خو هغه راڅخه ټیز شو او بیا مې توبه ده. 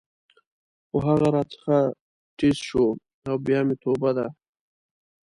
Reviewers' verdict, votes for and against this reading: rejected, 0, 2